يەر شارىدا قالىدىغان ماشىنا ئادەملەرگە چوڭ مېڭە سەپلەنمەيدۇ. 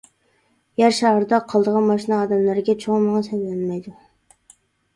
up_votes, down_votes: 1, 2